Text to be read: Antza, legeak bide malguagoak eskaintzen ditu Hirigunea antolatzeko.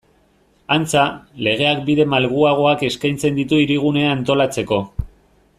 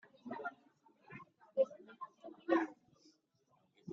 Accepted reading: first